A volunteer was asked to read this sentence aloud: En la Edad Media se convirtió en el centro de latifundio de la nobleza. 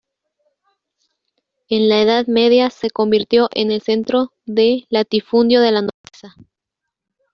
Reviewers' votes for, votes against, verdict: 1, 2, rejected